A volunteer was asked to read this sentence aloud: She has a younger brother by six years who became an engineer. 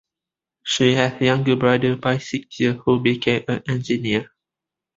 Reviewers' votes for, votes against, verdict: 2, 1, accepted